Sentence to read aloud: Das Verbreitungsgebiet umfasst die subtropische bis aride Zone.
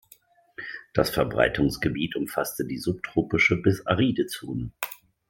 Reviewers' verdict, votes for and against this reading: rejected, 3, 4